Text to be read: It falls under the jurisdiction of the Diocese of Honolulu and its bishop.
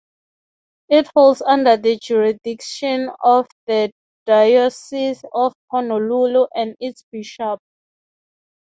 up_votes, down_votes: 3, 3